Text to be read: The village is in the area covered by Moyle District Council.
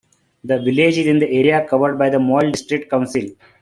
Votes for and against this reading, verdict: 2, 1, accepted